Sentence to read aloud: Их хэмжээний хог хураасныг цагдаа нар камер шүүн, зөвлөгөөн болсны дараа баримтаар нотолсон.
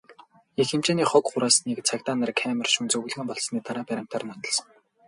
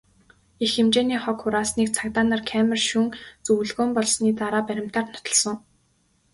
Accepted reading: second